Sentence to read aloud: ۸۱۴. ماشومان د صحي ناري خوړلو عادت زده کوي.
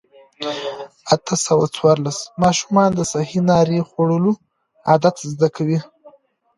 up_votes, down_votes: 0, 2